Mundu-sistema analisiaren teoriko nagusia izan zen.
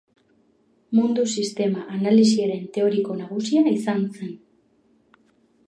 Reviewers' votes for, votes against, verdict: 2, 0, accepted